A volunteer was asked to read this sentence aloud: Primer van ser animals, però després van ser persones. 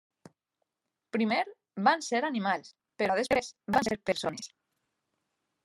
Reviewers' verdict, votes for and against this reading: rejected, 0, 2